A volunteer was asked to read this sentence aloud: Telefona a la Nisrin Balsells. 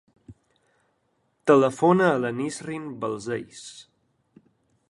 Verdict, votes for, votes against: accepted, 2, 0